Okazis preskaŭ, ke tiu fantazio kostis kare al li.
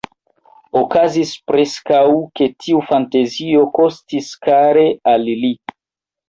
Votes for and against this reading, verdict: 2, 0, accepted